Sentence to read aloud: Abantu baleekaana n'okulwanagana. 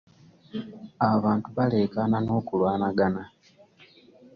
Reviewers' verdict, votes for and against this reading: accepted, 2, 0